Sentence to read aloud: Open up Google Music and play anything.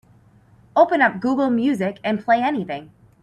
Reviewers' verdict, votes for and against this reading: accepted, 4, 0